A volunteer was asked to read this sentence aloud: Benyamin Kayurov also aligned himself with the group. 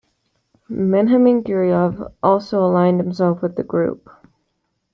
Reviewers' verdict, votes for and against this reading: rejected, 1, 2